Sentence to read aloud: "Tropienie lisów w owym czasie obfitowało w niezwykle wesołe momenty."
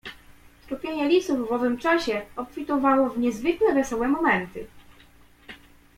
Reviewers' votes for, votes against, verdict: 1, 2, rejected